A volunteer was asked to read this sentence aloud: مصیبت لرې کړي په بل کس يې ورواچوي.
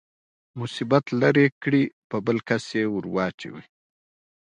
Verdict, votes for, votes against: accepted, 2, 0